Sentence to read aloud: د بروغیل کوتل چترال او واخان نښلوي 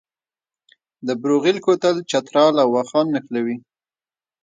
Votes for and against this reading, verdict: 1, 2, rejected